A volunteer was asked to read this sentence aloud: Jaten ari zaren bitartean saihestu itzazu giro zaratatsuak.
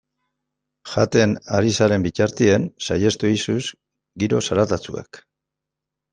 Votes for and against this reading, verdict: 1, 2, rejected